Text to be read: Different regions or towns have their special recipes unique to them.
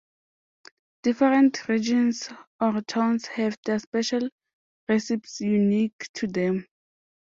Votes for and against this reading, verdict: 2, 0, accepted